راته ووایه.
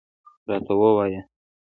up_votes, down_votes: 2, 0